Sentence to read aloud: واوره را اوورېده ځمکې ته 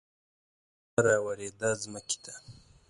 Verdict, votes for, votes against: rejected, 0, 2